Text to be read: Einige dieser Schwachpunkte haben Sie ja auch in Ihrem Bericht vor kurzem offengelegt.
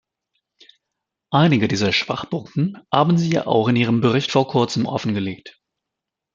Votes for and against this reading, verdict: 0, 2, rejected